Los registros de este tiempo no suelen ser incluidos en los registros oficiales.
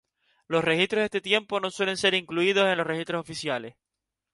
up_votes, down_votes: 4, 0